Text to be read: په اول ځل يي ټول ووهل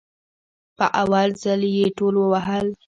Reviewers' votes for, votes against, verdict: 1, 2, rejected